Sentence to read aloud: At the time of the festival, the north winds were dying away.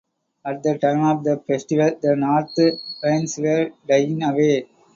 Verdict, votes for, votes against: accepted, 2, 0